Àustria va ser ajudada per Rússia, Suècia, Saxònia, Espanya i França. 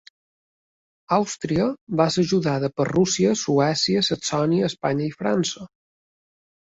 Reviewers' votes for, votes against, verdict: 3, 0, accepted